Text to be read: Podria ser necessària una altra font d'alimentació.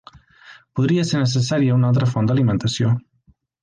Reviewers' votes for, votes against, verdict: 3, 0, accepted